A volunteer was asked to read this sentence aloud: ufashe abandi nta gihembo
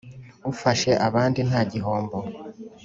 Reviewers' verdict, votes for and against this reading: rejected, 0, 2